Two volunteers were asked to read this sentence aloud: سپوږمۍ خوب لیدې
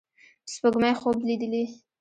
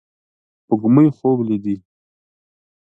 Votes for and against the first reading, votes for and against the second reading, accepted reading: 0, 2, 2, 0, second